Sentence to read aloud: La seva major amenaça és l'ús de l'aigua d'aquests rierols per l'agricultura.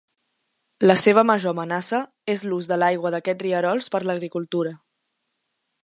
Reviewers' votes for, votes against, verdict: 2, 0, accepted